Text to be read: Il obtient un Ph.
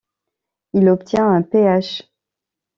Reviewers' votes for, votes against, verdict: 2, 0, accepted